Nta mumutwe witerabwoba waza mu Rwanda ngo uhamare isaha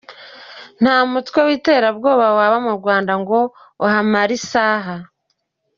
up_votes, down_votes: 2, 0